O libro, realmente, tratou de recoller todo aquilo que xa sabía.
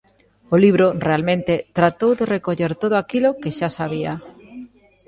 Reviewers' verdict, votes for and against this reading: accepted, 2, 0